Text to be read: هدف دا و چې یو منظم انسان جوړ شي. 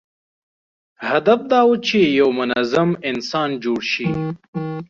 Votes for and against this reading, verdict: 1, 2, rejected